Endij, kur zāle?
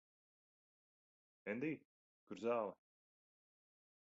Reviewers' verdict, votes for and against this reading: rejected, 0, 2